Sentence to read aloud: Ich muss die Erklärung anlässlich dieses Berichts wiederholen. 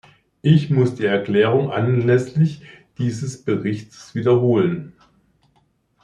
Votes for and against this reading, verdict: 1, 2, rejected